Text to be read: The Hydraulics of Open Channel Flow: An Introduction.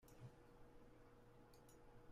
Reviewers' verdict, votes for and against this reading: rejected, 0, 2